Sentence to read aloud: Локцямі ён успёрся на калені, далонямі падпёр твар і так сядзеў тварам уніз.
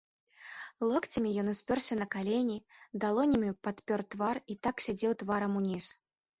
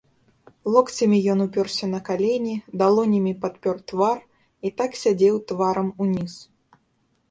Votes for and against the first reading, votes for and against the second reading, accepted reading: 3, 0, 0, 2, first